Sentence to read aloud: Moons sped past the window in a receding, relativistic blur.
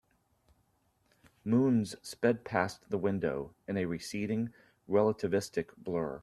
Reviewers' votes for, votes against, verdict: 2, 0, accepted